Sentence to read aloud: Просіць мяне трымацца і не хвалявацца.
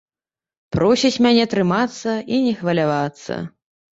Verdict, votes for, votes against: accepted, 2, 0